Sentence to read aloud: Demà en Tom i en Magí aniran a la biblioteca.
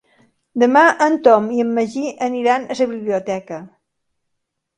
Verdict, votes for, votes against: accepted, 3, 1